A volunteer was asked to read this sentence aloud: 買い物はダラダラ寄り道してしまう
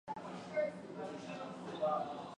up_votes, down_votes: 1, 2